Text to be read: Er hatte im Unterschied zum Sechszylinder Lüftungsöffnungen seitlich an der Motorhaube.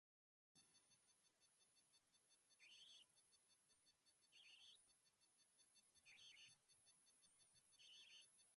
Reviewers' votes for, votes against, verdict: 0, 2, rejected